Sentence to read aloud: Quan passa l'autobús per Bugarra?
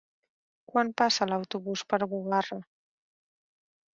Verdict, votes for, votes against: rejected, 2, 4